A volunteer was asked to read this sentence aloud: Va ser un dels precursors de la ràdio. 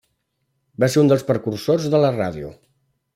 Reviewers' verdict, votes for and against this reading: rejected, 0, 2